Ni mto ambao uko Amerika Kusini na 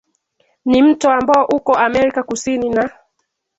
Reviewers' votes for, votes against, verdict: 2, 1, accepted